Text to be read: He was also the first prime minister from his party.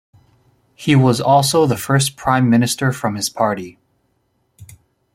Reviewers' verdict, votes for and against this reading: accepted, 2, 0